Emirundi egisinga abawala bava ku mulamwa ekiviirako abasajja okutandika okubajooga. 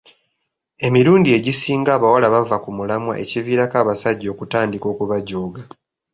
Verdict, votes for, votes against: accepted, 2, 0